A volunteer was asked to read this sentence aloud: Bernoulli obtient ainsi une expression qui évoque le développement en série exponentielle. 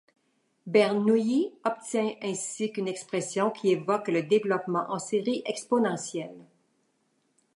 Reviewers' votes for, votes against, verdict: 1, 2, rejected